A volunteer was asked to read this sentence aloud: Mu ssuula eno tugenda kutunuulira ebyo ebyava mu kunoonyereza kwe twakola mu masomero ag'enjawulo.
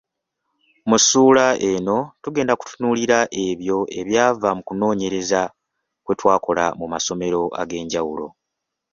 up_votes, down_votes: 2, 0